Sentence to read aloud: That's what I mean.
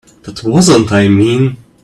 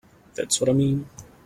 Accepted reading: second